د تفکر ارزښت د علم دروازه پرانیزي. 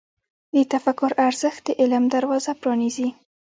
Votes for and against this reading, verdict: 0, 2, rejected